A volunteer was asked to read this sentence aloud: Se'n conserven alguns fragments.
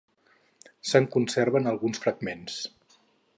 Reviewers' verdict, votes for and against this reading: accepted, 4, 0